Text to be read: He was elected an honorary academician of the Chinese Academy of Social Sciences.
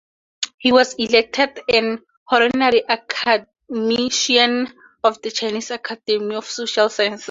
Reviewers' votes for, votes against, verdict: 0, 2, rejected